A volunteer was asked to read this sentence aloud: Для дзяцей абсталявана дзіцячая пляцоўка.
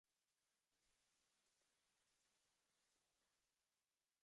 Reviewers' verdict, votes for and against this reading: rejected, 0, 2